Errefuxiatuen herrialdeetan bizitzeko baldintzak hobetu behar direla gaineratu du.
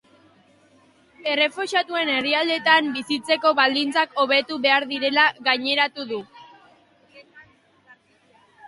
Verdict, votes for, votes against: accepted, 5, 0